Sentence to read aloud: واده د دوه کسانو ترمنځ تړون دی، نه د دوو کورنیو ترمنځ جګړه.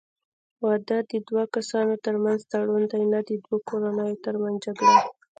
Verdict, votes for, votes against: rejected, 1, 2